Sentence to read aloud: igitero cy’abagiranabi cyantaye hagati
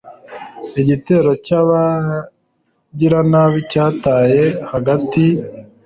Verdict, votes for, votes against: rejected, 1, 3